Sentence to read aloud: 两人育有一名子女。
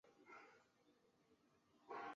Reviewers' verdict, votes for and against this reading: rejected, 0, 2